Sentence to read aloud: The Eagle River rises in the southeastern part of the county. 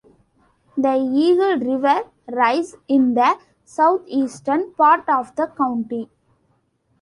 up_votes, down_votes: 1, 2